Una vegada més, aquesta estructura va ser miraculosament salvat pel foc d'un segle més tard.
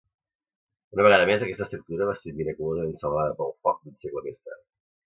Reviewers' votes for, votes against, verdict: 0, 2, rejected